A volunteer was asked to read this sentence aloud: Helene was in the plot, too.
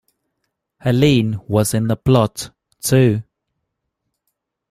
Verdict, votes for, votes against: accepted, 2, 0